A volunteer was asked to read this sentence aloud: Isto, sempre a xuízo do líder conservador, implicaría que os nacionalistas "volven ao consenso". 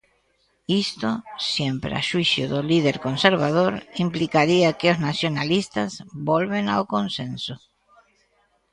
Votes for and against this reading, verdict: 1, 2, rejected